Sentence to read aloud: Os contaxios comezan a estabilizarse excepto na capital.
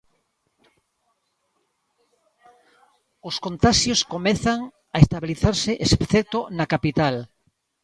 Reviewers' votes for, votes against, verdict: 0, 2, rejected